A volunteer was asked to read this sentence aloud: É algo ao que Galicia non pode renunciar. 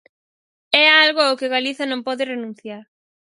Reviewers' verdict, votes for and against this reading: rejected, 2, 2